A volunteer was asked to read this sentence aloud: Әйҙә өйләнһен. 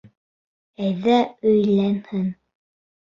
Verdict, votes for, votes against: accepted, 2, 0